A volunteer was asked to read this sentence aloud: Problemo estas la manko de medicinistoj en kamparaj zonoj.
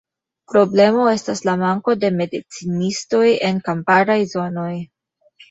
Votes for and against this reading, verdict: 4, 0, accepted